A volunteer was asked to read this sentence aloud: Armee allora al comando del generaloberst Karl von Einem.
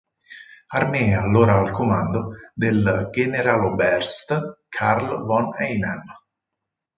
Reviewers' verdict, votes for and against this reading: accepted, 4, 0